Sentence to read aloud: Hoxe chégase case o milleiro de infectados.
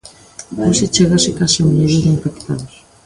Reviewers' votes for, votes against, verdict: 2, 1, accepted